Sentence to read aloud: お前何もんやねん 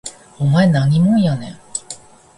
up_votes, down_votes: 2, 0